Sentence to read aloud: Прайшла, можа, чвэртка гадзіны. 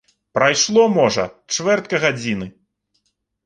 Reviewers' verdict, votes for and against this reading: rejected, 1, 2